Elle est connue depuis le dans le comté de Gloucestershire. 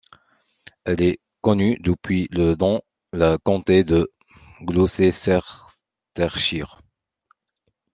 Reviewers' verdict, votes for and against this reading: rejected, 0, 2